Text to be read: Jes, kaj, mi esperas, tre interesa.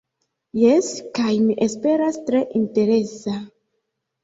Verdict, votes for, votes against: accepted, 3, 1